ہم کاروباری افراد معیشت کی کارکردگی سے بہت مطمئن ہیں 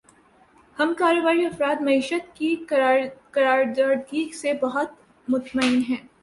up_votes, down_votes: 1, 2